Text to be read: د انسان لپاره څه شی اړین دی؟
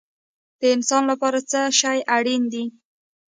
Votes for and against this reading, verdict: 1, 2, rejected